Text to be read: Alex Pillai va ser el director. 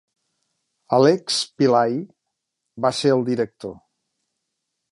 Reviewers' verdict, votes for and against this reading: rejected, 0, 2